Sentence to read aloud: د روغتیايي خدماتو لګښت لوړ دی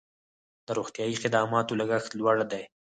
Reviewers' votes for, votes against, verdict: 4, 0, accepted